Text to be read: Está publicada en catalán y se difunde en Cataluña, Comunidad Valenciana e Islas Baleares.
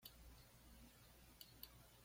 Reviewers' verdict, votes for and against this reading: rejected, 1, 2